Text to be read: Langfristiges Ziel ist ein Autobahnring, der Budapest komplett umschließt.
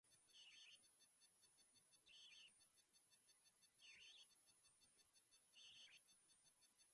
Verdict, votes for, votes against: rejected, 0, 2